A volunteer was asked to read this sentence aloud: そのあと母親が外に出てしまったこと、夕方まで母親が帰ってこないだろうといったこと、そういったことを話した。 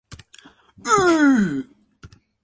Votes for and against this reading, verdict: 0, 2, rejected